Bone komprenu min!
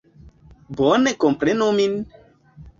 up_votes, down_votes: 2, 1